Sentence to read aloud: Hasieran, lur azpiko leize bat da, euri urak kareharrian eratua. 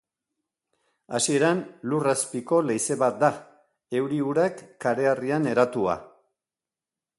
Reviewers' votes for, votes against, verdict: 2, 0, accepted